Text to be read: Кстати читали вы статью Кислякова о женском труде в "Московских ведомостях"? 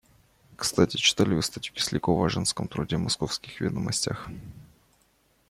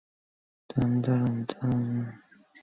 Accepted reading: first